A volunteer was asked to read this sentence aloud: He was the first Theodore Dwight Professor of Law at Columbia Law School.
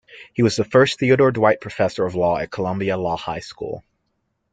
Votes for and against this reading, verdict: 0, 2, rejected